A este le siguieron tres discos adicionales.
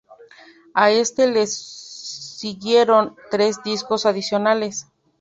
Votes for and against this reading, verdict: 0, 2, rejected